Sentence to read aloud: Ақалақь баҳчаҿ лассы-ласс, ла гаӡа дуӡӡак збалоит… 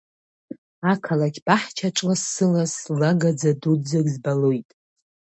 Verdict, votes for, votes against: accepted, 2, 0